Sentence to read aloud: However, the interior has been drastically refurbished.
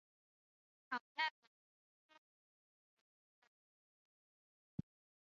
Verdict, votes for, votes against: rejected, 0, 3